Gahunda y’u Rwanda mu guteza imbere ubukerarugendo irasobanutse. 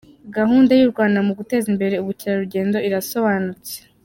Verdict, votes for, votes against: accepted, 3, 0